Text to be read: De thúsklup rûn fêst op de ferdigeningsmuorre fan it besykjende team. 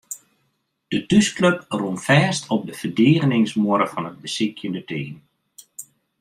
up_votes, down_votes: 2, 0